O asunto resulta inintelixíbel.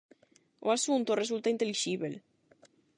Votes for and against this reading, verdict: 0, 8, rejected